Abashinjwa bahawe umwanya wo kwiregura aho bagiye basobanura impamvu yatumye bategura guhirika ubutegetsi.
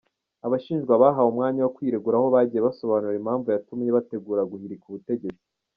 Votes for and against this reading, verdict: 0, 2, rejected